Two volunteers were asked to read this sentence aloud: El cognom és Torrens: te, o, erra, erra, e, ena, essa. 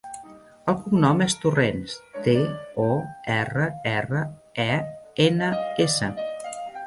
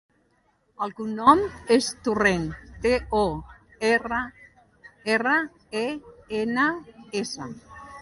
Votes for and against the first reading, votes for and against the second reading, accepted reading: 2, 0, 1, 2, first